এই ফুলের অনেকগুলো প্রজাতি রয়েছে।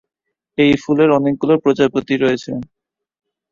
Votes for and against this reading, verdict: 0, 2, rejected